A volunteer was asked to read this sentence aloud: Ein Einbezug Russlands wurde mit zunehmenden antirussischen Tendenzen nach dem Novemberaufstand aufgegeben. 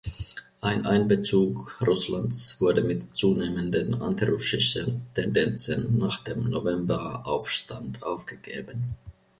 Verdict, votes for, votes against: rejected, 0, 2